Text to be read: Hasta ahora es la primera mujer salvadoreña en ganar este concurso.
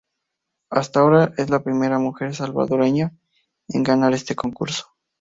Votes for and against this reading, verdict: 2, 2, rejected